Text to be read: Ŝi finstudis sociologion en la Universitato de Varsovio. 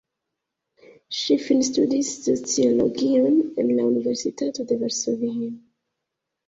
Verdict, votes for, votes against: rejected, 1, 2